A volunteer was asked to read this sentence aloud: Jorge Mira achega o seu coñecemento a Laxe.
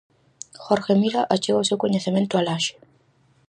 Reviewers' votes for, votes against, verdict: 4, 0, accepted